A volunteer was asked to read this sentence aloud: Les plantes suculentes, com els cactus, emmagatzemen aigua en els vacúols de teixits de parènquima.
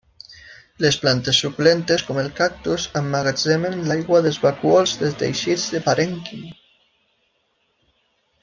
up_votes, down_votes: 0, 2